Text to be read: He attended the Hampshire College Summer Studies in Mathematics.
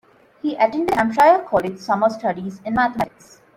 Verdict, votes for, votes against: accepted, 2, 1